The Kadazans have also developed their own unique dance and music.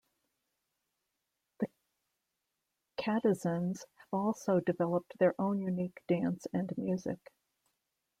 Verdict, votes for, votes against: rejected, 0, 2